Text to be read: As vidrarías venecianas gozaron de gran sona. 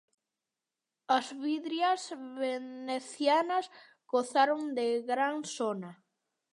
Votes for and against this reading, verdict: 0, 2, rejected